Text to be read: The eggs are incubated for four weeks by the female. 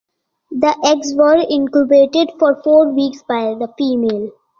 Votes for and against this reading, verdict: 2, 1, accepted